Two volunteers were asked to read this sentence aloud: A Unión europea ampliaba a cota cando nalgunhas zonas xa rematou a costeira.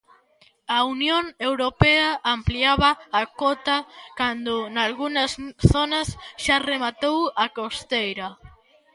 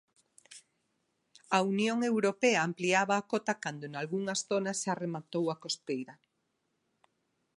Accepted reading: second